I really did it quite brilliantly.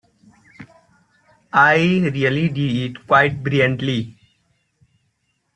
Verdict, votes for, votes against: rejected, 0, 2